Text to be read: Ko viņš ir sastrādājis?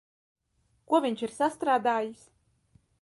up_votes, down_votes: 1, 2